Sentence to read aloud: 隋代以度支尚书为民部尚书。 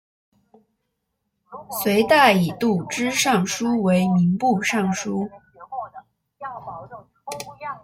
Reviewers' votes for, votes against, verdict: 0, 2, rejected